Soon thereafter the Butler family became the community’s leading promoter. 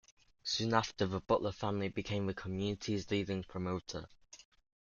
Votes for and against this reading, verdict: 1, 2, rejected